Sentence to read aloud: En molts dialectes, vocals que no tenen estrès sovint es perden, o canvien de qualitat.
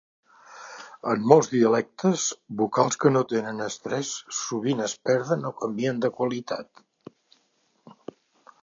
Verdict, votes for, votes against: accepted, 2, 0